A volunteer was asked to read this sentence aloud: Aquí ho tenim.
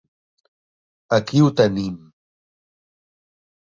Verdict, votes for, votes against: accepted, 4, 0